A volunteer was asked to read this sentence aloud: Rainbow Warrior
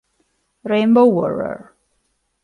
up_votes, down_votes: 0, 2